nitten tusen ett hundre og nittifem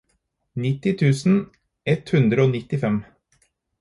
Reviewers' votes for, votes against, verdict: 2, 4, rejected